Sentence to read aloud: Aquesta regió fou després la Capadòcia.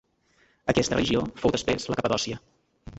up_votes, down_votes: 0, 2